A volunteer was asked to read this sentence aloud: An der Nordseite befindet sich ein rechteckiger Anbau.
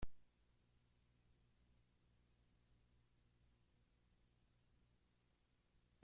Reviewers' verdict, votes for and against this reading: rejected, 0, 2